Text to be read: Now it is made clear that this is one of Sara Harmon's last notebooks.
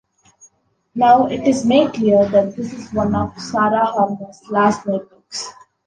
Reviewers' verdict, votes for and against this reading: accepted, 2, 0